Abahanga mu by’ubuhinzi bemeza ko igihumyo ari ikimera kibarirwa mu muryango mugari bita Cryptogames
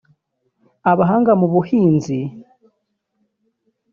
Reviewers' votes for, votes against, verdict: 1, 2, rejected